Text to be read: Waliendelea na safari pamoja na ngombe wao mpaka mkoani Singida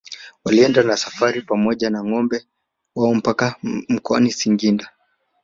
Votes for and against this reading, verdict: 1, 2, rejected